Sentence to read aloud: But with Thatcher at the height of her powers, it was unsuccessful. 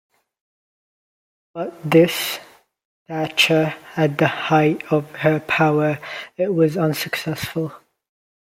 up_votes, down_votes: 0, 2